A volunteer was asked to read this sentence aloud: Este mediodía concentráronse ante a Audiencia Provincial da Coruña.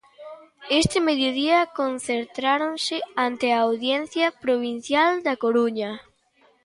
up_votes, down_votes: 2, 0